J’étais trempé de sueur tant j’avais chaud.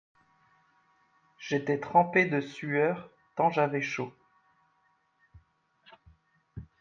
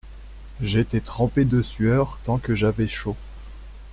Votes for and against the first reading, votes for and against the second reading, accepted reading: 2, 0, 0, 2, first